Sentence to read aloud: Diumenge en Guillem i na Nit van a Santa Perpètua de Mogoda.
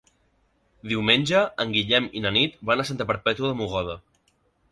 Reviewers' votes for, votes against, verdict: 1, 2, rejected